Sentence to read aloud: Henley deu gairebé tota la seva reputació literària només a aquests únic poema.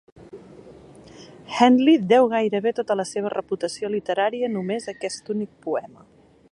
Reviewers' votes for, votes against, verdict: 2, 0, accepted